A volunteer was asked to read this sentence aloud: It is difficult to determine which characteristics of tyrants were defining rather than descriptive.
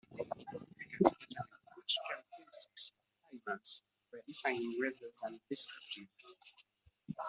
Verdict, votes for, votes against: rejected, 0, 2